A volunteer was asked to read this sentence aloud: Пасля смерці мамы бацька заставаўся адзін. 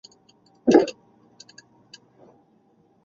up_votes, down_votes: 0, 2